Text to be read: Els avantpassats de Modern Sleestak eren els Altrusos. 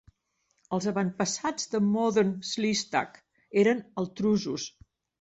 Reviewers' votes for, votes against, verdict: 0, 2, rejected